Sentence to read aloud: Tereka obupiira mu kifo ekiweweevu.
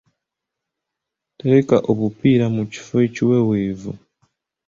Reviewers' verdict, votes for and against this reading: accepted, 3, 1